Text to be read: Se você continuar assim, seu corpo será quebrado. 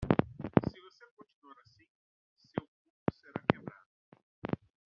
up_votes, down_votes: 0, 2